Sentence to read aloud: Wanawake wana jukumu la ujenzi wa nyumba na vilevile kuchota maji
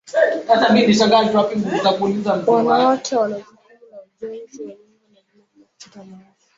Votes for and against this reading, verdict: 1, 2, rejected